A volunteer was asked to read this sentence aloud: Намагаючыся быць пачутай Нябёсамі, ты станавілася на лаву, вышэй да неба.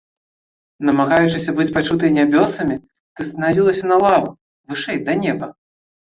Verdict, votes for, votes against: accepted, 2, 0